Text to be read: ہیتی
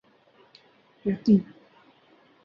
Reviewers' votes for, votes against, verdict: 2, 2, rejected